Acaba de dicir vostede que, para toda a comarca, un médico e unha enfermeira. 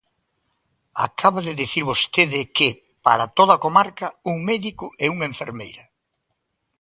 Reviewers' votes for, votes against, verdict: 2, 0, accepted